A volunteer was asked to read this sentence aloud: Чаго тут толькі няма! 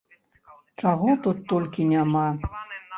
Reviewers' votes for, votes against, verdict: 1, 3, rejected